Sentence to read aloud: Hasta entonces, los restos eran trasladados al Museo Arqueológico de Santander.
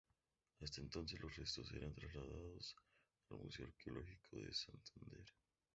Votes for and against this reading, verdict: 0, 2, rejected